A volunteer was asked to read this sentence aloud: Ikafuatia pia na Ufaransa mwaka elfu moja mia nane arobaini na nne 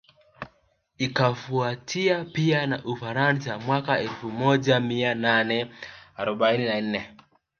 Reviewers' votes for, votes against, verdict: 0, 2, rejected